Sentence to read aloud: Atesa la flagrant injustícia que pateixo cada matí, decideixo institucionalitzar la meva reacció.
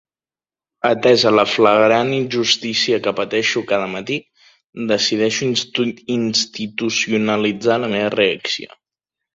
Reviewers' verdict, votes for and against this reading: rejected, 0, 2